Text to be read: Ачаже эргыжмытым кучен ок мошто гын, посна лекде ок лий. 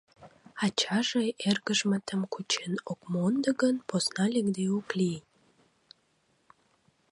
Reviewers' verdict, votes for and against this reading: rejected, 0, 2